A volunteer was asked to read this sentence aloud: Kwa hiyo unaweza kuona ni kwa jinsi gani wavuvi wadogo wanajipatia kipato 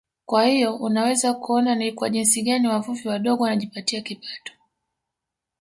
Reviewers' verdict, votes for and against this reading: rejected, 1, 2